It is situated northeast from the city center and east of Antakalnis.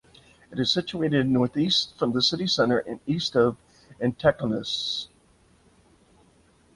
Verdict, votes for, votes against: accepted, 2, 0